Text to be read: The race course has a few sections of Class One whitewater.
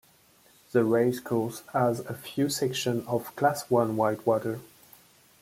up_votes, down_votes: 1, 2